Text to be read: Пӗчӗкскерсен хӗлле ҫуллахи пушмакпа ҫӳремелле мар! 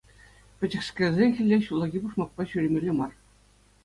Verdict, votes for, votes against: accepted, 2, 0